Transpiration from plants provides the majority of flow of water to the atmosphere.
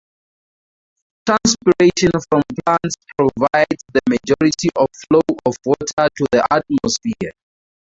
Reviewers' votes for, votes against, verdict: 0, 4, rejected